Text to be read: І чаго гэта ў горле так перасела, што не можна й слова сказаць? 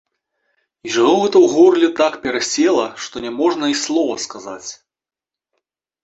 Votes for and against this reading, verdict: 2, 0, accepted